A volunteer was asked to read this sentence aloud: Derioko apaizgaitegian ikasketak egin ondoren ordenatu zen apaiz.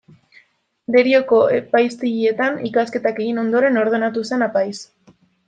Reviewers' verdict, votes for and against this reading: rejected, 0, 2